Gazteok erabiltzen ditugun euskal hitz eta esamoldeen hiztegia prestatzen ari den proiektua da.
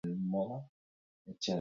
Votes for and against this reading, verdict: 0, 4, rejected